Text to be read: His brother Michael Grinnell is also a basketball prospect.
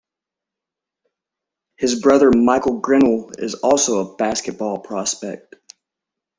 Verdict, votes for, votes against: rejected, 0, 2